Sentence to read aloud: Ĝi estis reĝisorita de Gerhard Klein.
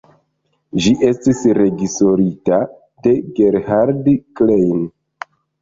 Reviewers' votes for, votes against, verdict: 0, 2, rejected